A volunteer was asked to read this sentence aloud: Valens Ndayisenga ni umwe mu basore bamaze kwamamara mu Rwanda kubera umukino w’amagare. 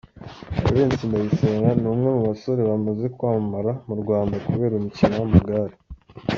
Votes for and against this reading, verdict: 2, 0, accepted